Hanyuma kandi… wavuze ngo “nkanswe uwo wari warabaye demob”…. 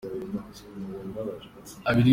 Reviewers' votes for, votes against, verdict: 0, 2, rejected